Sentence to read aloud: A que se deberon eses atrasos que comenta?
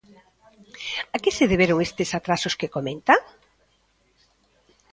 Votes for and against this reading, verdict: 1, 2, rejected